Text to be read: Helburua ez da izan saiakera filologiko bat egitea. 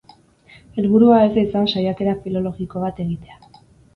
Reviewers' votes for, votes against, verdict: 4, 0, accepted